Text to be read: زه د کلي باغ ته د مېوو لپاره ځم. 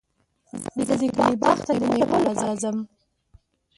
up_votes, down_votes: 0, 3